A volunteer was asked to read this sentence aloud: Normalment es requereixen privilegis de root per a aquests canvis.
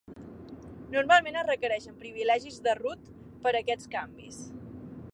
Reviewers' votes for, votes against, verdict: 2, 1, accepted